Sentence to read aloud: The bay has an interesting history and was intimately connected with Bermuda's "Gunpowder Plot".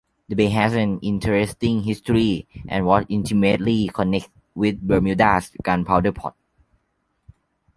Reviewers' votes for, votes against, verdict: 0, 2, rejected